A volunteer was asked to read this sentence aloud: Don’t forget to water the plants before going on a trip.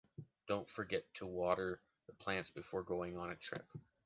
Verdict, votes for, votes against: rejected, 1, 2